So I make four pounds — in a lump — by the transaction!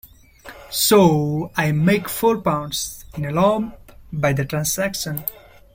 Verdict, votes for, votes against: accepted, 2, 1